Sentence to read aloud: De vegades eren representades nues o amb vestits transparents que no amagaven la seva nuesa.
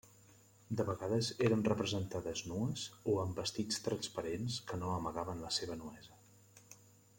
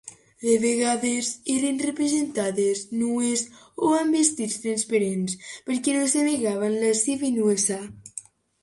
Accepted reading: first